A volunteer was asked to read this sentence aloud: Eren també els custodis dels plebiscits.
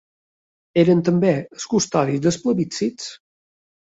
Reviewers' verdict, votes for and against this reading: accepted, 2, 0